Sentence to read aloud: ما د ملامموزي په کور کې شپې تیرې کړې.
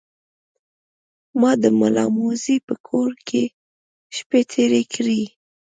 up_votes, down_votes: 2, 0